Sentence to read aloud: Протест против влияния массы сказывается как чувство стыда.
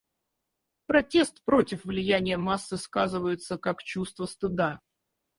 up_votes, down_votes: 0, 4